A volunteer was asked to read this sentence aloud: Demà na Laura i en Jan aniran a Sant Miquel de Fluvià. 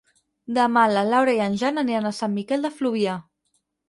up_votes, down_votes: 4, 6